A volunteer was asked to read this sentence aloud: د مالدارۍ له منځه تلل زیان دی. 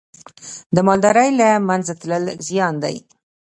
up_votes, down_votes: 2, 1